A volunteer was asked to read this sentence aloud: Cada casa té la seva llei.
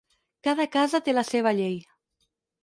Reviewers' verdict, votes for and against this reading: accepted, 4, 0